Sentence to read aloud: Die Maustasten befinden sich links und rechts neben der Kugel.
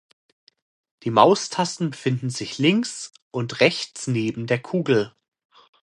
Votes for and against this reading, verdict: 2, 0, accepted